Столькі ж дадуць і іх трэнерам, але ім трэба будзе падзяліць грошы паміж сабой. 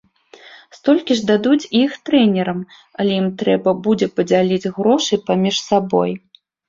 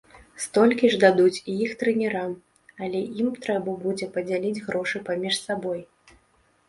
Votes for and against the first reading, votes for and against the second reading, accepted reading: 2, 0, 0, 2, first